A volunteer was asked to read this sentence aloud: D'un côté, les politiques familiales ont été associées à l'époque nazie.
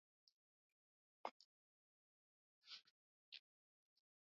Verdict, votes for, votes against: rejected, 1, 2